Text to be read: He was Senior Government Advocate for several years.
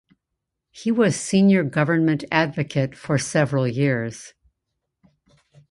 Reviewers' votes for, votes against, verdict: 2, 0, accepted